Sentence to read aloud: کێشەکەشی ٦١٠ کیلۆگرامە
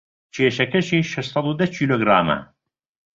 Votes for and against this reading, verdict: 0, 2, rejected